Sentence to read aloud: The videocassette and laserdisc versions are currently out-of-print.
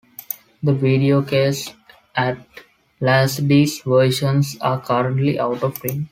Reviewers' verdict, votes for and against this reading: rejected, 1, 2